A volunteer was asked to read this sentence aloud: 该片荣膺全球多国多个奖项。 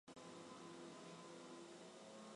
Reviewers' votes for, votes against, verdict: 0, 2, rejected